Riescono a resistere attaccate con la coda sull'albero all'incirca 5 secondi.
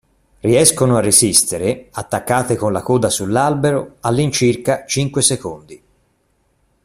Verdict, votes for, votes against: rejected, 0, 2